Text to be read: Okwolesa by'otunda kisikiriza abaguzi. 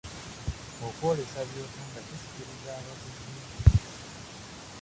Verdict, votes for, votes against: rejected, 1, 2